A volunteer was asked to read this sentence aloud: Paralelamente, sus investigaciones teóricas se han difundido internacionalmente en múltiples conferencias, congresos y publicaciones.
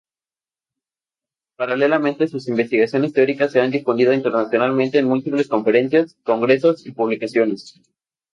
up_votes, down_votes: 0, 2